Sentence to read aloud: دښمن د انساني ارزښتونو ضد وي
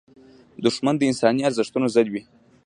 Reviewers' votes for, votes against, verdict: 2, 0, accepted